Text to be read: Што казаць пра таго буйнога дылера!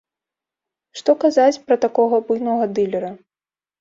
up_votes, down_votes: 1, 3